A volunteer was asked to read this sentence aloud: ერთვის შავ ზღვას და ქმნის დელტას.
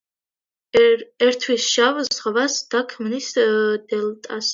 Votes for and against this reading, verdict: 1, 2, rejected